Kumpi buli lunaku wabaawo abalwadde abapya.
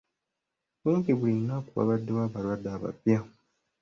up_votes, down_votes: 0, 2